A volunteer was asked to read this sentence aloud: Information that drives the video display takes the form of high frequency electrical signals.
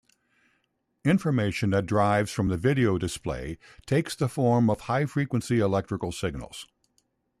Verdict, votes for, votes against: rejected, 0, 2